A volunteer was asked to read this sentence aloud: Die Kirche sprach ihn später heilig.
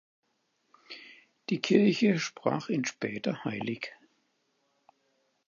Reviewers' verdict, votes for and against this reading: accepted, 4, 0